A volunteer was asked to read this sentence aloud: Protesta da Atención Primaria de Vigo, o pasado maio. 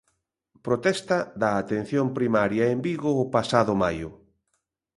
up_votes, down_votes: 0, 3